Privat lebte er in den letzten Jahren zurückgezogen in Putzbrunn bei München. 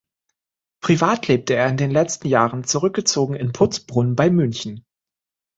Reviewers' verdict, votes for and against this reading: accepted, 2, 0